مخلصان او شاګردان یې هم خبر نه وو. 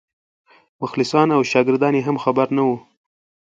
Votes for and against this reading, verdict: 2, 0, accepted